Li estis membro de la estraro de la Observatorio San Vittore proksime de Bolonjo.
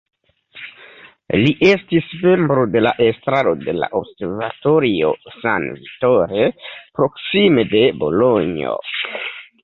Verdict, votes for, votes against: accepted, 2, 0